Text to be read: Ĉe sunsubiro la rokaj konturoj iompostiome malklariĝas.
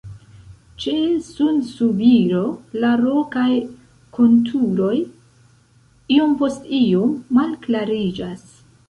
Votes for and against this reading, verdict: 1, 2, rejected